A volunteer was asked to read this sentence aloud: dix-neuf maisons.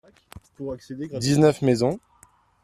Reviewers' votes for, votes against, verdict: 0, 2, rejected